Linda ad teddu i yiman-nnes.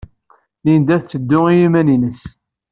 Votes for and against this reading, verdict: 2, 0, accepted